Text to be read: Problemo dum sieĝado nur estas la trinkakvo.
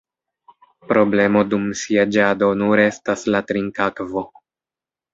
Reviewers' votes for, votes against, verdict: 1, 2, rejected